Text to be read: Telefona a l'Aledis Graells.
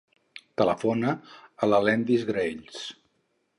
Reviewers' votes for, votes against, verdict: 0, 4, rejected